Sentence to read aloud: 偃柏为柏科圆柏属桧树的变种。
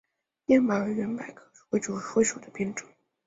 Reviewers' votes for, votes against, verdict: 3, 7, rejected